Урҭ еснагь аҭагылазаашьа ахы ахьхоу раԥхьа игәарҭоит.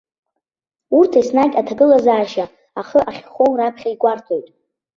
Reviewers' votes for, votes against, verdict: 2, 0, accepted